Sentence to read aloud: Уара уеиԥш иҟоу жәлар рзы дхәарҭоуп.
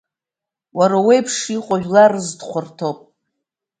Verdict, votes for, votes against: accepted, 2, 0